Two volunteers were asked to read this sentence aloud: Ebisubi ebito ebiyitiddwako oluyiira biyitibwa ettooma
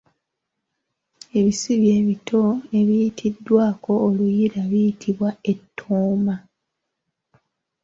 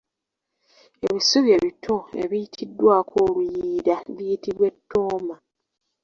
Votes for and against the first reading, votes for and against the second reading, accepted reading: 2, 1, 1, 2, first